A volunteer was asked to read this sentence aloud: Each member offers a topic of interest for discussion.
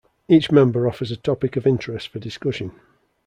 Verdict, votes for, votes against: accepted, 2, 0